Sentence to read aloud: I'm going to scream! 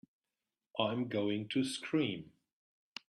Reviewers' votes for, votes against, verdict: 3, 0, accepted